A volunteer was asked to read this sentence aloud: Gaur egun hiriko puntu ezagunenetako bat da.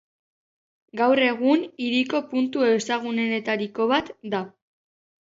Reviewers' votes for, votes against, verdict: 0, 3, rejected